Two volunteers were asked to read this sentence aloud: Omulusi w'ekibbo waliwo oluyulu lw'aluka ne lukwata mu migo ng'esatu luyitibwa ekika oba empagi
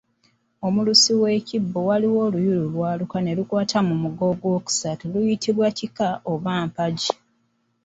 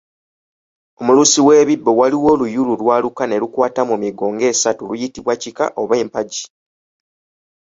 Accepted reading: second